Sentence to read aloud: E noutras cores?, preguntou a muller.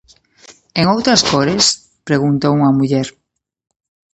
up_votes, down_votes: 0, 2